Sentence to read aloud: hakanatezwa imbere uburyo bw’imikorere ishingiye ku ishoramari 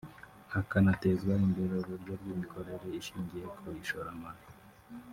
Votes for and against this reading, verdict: 0, 2, rejected